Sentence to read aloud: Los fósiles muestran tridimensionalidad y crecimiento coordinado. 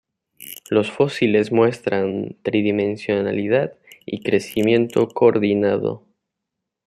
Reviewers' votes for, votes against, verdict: 2, 0, accepted